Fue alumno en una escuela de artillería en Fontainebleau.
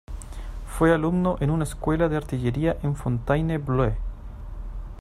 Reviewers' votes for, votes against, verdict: 0, 2, rejected